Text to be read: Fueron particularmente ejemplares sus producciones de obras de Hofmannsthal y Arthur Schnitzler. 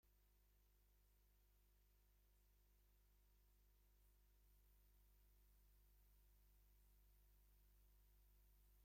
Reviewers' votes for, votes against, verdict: 0, 2, rejected